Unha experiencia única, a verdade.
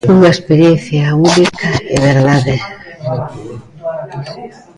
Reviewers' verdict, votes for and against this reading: rejected, 0, 2